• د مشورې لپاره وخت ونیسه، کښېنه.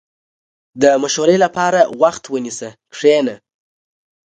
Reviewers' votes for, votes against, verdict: 2, 0, accepted